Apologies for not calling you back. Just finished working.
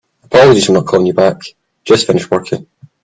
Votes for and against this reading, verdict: 0, 2, rejected